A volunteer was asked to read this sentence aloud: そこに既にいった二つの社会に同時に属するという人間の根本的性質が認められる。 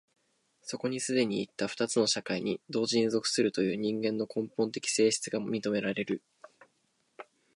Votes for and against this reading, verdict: 3, 0, accepted